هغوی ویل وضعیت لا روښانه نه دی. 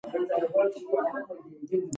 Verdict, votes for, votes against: rejected, 1, 2